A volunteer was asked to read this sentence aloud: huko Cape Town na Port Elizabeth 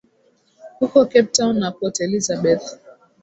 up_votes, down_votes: 19, 1